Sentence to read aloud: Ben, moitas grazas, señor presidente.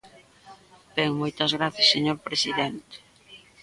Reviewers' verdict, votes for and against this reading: rejected, 1, 2